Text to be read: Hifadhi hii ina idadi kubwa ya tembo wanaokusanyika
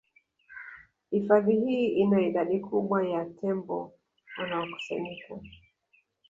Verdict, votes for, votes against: rejected, 0, 2